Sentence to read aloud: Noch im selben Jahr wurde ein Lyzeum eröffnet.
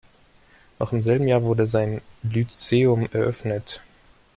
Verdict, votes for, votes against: accepted, 2, 1